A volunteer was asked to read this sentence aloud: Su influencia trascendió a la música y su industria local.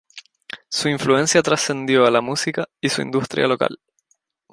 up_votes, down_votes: 2, 0